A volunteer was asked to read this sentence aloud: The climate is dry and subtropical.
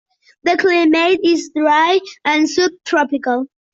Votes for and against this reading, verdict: 2, 0, accepted